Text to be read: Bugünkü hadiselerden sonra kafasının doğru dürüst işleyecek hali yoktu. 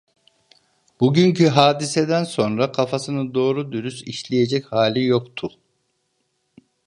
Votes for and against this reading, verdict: 0, 2, rejected